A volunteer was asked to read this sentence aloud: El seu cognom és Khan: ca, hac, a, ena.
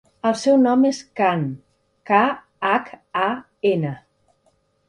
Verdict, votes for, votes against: rejected, 1, 2